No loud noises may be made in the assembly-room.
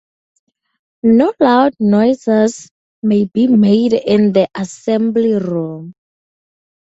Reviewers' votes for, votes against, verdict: 0, 2, rejected